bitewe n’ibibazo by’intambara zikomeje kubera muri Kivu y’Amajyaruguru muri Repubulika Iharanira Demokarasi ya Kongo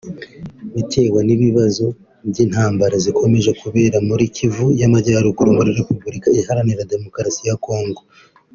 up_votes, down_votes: 2, 0